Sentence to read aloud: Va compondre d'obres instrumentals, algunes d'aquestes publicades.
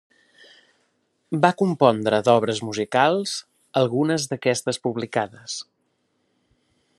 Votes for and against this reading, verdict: 0, 2, rejected